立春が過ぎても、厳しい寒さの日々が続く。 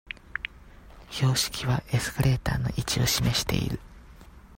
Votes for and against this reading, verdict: 0, 2, rejected